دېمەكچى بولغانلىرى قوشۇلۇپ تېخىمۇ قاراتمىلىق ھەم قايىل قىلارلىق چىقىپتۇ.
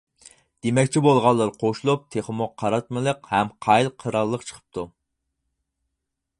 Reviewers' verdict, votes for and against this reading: rejected, 2, 4